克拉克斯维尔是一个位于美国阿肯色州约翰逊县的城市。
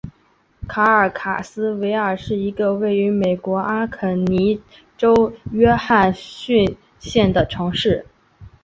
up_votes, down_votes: 2, 3